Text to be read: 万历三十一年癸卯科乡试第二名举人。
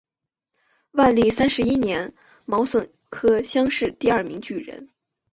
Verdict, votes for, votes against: accepted, 2, 0